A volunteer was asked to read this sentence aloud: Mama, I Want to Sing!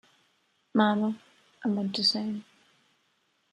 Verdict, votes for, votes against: accepted, 2, 0